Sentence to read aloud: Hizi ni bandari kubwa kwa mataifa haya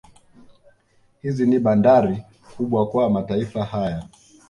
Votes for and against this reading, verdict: 2, 0, accepted